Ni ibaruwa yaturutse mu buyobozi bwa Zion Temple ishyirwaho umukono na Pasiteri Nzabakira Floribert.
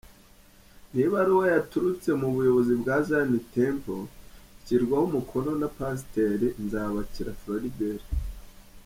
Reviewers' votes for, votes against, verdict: 2, 1, accepted